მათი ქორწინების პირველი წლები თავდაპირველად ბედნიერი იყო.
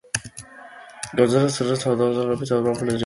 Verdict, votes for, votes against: rejected, 0, 2